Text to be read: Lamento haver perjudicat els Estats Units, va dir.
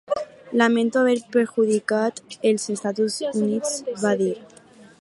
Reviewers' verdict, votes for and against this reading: rejected, 2, 6